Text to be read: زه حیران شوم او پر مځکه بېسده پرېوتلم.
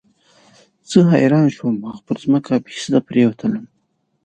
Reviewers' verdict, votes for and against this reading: rejected, 1, 2